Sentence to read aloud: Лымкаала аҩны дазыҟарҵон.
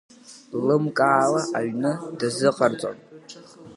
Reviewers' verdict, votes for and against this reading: accepted, 2, 0